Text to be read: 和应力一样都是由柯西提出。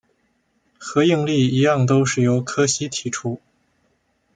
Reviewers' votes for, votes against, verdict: 2, 0, accepted